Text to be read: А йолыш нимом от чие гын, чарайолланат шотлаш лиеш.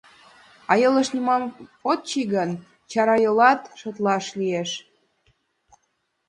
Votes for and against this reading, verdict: 2, 0, accepted